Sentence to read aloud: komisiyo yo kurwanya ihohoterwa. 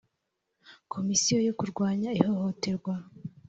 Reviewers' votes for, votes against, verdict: 3, 0, accepted